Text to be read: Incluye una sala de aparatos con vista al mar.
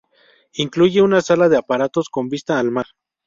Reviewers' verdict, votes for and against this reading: accepted, 2, 0